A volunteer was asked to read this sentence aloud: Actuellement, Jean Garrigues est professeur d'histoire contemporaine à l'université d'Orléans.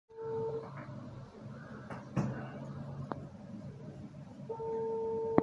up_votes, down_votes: 0, 2